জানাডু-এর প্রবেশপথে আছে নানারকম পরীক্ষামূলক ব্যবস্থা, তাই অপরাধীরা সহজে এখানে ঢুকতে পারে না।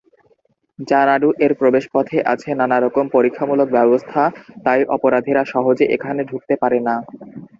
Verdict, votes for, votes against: rejected, 0, 2